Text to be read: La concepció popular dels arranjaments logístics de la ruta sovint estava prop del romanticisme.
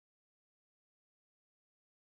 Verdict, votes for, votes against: rejected, 0, 2